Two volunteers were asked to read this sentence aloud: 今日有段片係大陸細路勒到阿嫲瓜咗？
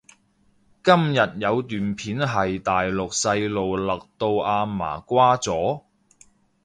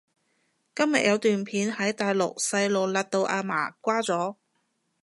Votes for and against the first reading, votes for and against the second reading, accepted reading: 2, 0, 0, 2, first